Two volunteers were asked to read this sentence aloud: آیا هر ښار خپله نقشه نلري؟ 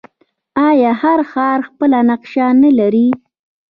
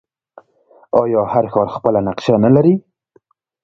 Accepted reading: second